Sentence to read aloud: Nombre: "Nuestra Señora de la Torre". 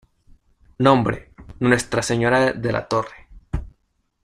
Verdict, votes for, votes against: rejected, 1, 2